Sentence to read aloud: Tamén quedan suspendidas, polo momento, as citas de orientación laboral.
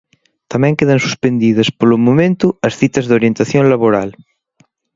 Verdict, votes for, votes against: accepted, 2, 0